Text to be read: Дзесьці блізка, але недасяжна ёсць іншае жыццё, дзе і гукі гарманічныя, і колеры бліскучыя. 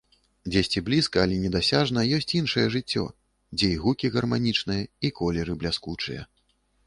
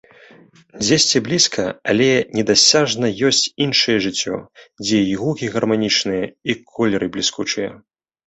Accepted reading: second